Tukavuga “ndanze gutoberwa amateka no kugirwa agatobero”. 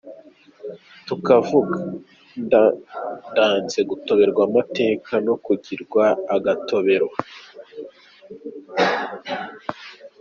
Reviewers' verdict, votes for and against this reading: accepted, 2, 0